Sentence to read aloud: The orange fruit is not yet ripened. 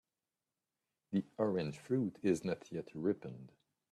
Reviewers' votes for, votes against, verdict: 3, 2, accepted